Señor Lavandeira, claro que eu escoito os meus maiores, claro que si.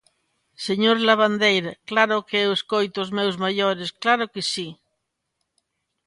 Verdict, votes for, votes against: accepted, 2, 0